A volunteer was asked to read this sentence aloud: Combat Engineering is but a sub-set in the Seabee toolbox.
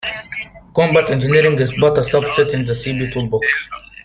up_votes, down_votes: 0, 2